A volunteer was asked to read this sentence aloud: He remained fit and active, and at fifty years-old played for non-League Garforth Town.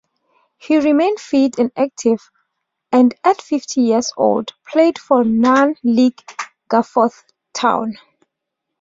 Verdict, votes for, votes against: accepted, 2, 1